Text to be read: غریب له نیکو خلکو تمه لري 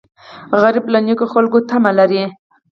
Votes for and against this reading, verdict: 4, 0, accepted